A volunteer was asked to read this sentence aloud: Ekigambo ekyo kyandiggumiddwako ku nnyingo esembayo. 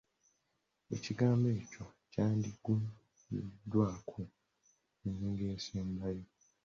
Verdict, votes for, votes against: rejected, 1, 2